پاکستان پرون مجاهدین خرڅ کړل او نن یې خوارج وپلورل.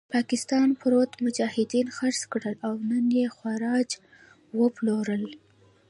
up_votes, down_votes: 0, 2